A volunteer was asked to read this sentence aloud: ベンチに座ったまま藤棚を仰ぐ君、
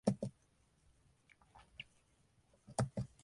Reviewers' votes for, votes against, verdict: 0, 2, rejected